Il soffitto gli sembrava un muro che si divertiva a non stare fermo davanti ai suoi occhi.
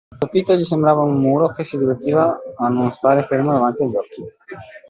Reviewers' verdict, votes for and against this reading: rejected, 0, 2